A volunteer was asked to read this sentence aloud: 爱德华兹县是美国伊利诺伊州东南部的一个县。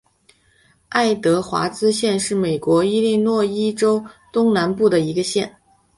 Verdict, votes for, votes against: accepted, 4, 0